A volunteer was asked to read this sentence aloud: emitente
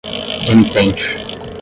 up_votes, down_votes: 0, 10